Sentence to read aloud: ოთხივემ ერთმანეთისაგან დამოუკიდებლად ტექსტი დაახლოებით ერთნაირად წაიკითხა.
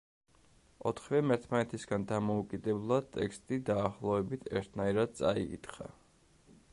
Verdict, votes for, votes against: rejected, 1, 2